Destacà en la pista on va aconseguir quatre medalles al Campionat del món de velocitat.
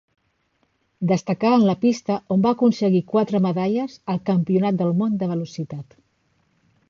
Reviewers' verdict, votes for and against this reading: accepted, 3, 0